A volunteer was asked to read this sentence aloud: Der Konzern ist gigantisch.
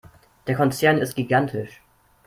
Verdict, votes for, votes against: accepted, 2, 0